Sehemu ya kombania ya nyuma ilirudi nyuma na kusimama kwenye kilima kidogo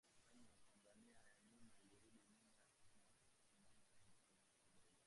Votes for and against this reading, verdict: 0, 2, rejected